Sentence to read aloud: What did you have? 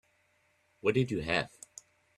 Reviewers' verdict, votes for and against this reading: accepted, 2, 0